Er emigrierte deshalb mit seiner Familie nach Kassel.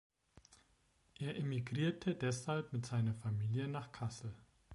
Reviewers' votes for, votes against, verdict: 2, 0, accepted